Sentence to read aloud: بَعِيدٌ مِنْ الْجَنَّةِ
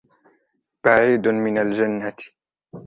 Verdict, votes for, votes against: rejected, 1, 2